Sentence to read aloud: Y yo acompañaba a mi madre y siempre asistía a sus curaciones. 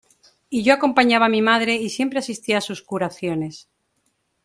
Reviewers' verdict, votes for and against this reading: accepted, 2, 0